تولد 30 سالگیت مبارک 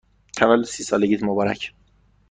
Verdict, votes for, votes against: rejected, 0, 2